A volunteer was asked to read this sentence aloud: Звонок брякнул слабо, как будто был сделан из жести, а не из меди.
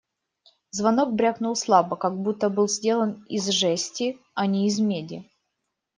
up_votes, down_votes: 2, 0